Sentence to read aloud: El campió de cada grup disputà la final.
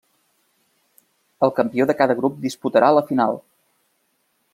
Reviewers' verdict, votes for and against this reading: rejected, 1, 2